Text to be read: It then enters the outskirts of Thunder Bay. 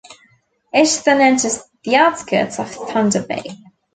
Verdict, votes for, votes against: rejected, 0, 2